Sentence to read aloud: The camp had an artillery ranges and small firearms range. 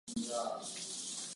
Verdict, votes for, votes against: rejected, 0, 2